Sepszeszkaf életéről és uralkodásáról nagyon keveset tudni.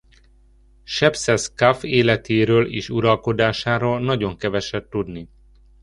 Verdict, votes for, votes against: accepted, 2, 0